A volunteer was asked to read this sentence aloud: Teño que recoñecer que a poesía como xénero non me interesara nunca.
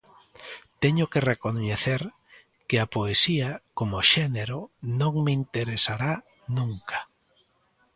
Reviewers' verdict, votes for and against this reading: rejected, 0, 2